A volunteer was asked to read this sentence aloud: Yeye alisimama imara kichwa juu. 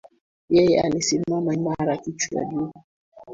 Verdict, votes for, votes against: rejected, 1, 2